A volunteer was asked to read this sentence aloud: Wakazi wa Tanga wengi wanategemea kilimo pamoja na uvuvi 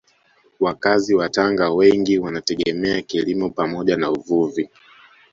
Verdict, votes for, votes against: accepted, 2, 0